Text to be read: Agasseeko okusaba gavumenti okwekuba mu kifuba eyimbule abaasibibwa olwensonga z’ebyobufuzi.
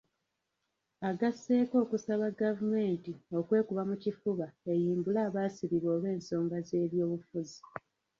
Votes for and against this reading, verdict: 0, 2, rejected